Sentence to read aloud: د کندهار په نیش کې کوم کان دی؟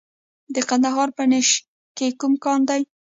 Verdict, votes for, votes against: rejected, 1, 2